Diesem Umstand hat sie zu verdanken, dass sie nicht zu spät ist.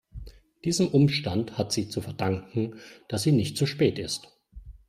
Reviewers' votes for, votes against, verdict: 2, 0, accepted